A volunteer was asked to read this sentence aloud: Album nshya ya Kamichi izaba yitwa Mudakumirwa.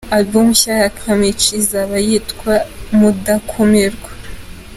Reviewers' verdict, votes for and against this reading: accepted, 2, 0